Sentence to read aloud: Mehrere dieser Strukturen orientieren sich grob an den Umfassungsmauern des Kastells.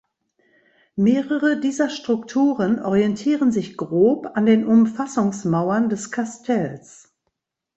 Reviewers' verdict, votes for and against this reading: accepted, 3, 0